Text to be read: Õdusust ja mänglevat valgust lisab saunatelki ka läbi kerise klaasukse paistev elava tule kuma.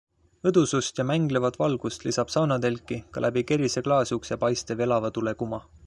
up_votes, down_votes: 2, 0